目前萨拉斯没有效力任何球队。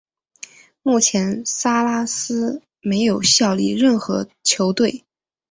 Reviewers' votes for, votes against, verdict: 3, 0, accepted